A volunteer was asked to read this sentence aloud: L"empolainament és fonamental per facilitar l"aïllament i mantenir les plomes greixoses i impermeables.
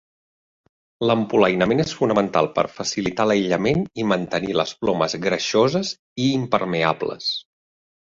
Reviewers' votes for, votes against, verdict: 2, 0, accepted